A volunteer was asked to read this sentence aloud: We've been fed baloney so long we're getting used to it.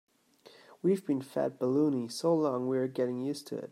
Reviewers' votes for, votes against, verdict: 0, 2, rejected